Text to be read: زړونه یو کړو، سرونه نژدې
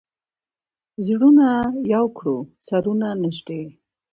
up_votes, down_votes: 2, 1